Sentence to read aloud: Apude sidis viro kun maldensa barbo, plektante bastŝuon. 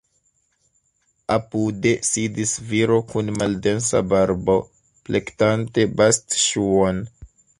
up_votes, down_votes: 3, 1